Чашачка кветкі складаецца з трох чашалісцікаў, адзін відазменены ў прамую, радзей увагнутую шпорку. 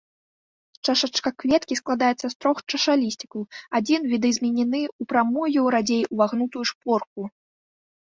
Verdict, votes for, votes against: rejected, 0, 2